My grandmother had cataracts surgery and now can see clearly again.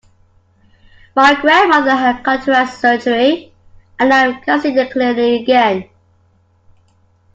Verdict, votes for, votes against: rejected, 1, 2